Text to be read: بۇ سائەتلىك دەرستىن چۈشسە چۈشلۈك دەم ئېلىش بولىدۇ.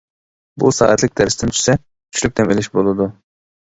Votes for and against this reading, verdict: 2, 0, accepted